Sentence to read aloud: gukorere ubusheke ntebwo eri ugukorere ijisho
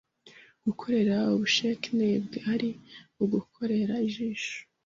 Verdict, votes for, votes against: rejected, 1, 2